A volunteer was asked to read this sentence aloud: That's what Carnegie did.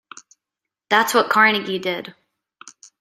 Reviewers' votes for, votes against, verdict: 2, 0, accepted